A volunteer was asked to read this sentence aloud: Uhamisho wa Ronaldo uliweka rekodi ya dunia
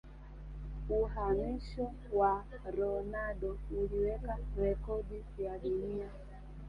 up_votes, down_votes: 0, 2